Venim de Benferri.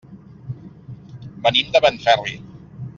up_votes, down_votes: 3, 0